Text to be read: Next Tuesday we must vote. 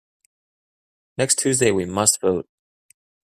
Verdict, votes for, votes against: accepted, 2, 0